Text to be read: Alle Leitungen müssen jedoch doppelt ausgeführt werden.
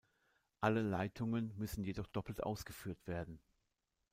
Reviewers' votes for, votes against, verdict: 2, 0, accepted